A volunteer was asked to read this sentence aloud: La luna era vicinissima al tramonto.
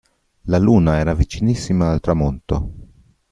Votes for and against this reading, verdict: 2, 0, accepted